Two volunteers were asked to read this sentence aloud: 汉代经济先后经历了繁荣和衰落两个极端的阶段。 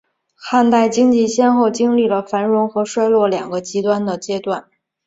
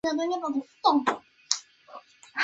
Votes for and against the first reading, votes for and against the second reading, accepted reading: 6, 1, 0, 2, first